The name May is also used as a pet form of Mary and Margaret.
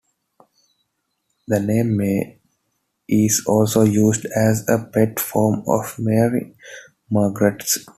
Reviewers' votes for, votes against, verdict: 2, 1, accepted